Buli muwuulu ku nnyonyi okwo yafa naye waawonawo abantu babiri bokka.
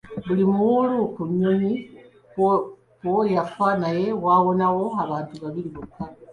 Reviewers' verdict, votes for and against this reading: rejected, 0, 2